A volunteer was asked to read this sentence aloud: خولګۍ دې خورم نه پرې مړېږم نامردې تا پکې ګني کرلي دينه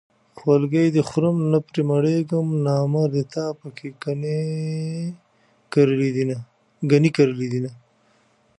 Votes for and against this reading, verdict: 1, 2, rejected